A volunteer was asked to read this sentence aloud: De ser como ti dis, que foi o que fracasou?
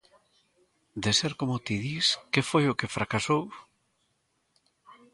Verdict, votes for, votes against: accepted, 3, 0